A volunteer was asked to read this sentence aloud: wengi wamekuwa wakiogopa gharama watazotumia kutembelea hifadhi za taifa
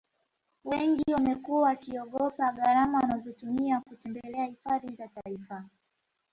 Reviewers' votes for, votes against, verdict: 1, 2, rejected